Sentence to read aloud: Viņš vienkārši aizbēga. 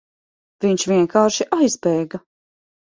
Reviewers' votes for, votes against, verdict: 3, 0, accepted